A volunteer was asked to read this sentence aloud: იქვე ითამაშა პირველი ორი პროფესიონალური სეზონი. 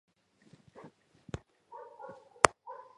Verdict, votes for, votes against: rejected, 1, 2